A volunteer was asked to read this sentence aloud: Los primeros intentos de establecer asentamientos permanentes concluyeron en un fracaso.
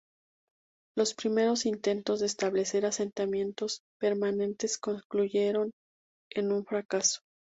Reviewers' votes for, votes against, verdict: 2, 0, accepted